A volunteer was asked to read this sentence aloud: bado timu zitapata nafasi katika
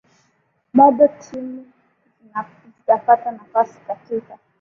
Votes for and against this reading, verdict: 2, 3, rejected